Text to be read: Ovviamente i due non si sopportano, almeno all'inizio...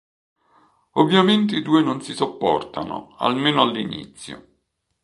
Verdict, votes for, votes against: accepted, 2, 0